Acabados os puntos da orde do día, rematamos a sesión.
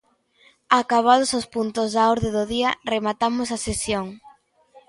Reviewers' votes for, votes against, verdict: 2, 0, accepted